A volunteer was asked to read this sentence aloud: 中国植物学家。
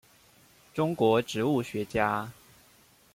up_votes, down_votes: 1, 2